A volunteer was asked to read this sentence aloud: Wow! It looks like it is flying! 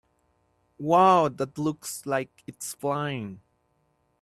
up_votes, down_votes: 0, 2